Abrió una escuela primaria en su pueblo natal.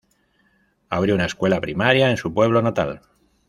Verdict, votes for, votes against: accepted, 2, 0